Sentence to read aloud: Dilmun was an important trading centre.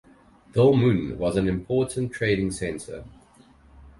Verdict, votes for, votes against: accepted, 4, 0